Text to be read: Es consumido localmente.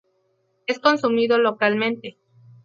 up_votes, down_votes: 2, 0